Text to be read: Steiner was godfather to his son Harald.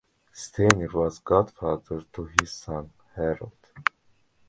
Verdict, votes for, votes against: accepted, 2, 0